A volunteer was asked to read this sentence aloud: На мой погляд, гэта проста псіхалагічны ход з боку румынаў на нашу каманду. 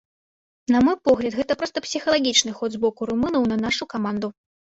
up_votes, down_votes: 1, 2